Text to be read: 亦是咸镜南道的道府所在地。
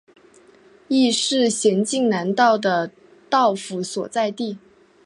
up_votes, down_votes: 2, 0